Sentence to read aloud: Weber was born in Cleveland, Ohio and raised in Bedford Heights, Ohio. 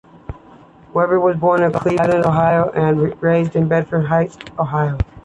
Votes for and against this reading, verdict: 3, 1, accepted